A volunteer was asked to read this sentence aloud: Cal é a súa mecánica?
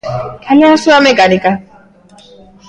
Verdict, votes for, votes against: rejected, 1, 2